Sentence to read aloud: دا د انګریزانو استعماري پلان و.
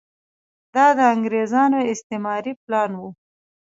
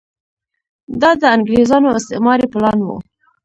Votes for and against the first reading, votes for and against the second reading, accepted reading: 2, 0, 0, 2, first